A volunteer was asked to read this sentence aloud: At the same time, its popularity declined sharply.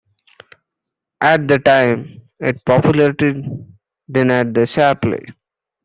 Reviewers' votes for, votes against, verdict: 0, 2, rejected